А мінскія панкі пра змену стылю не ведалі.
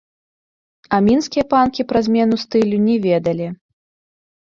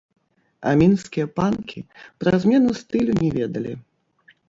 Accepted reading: first